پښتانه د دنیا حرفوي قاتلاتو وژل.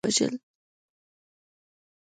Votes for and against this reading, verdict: 0, 2, rejected